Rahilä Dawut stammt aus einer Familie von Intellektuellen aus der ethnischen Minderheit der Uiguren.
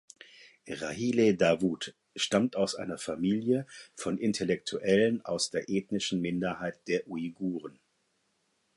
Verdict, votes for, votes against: accepted, 4, 0